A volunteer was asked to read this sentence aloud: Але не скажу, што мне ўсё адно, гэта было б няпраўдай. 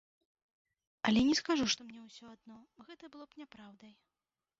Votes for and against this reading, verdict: 1, 2, rejected